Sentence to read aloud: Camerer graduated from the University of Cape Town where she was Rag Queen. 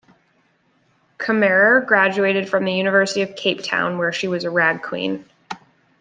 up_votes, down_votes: 2, 0